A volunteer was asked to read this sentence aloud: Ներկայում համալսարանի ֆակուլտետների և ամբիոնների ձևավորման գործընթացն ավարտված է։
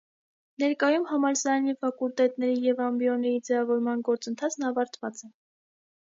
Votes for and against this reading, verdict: 2, 0, accepted